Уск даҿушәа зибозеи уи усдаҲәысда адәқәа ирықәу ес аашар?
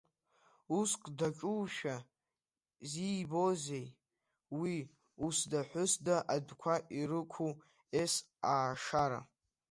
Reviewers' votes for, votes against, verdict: 1, 2, rejected